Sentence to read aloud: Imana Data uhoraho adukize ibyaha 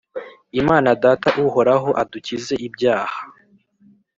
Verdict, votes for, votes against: accepted, 2, 0